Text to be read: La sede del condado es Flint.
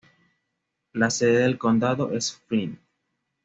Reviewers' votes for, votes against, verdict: 2, 0, accepted